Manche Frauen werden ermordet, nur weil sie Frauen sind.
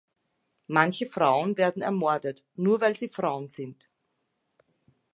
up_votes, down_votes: 2, 0